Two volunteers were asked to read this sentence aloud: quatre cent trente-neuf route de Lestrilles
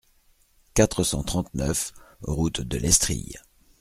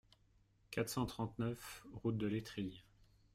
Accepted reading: first